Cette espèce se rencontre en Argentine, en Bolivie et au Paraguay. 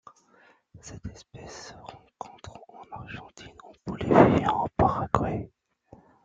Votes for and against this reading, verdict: 0, 2, rejected